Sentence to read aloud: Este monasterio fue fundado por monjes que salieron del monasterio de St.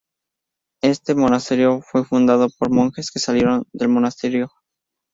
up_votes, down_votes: 0, 2